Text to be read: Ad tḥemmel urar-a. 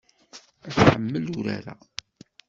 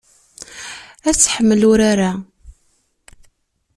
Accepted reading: second